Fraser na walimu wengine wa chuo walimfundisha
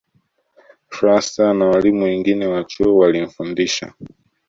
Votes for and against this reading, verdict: 2, 0, accepted